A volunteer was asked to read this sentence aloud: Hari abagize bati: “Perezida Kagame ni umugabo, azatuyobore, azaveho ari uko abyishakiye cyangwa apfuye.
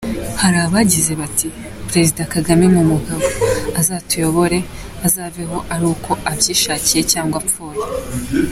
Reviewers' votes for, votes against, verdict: 2, 1, accepted